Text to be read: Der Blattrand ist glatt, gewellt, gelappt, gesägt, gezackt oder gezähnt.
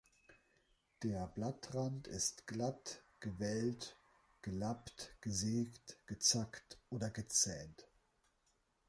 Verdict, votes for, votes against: accepted, 2, 0